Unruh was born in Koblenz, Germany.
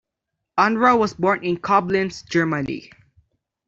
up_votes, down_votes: 2, 1